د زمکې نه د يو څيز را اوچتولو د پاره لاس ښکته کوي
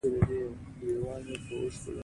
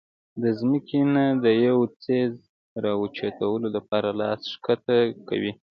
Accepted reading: first